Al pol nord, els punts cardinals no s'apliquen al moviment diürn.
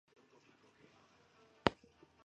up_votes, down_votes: 0, 2